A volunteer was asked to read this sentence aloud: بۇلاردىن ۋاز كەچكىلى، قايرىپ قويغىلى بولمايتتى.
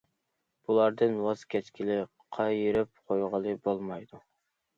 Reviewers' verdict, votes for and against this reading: rejected, 0, 2